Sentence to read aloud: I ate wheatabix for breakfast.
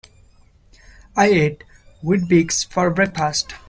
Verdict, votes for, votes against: rejected, 1, 2